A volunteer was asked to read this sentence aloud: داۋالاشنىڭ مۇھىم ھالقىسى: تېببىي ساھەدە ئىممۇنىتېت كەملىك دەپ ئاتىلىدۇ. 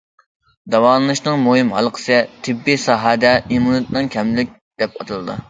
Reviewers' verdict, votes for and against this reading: rejected, 0, 2